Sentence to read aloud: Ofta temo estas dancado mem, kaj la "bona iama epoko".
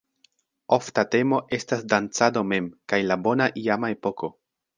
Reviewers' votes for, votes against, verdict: 2, 1, accepted